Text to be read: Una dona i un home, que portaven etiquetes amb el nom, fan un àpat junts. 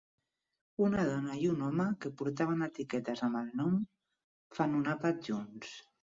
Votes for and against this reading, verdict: 8, 0, accepted